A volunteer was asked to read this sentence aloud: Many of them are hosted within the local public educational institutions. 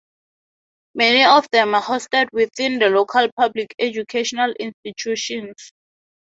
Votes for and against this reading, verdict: 2, 0, accepted